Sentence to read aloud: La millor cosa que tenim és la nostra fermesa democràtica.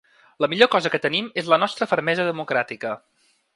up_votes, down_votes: 3, 0